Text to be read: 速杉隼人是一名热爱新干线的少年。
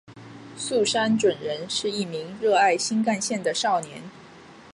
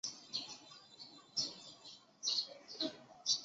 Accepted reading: first